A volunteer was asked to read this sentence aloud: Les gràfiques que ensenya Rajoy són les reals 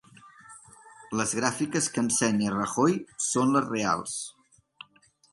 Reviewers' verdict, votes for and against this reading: rejected, 1, 2